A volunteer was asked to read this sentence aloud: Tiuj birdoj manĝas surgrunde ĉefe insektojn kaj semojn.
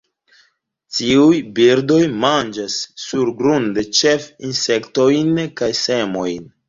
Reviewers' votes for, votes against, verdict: 0, 2, rejected